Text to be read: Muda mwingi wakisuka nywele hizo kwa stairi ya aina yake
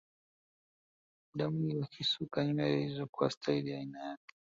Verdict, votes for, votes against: rejected, 1, 2